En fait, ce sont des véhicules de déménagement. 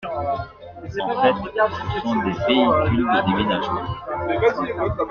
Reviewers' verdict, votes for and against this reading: rejected, 0, 2